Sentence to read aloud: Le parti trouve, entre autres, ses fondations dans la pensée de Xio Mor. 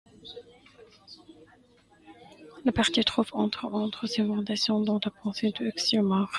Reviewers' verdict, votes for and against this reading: rejected, 1, 2